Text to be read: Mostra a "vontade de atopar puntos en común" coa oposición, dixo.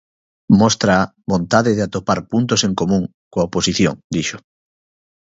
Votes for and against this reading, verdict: 0, 2, rejected